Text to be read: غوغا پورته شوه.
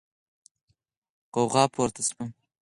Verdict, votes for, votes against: accepted, 8, 4